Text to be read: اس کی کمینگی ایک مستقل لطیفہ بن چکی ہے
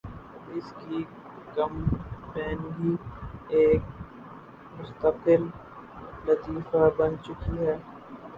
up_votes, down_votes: 0, 2